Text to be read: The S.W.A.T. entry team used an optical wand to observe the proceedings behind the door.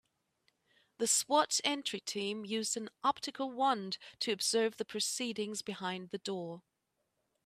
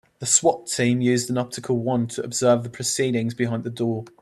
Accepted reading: first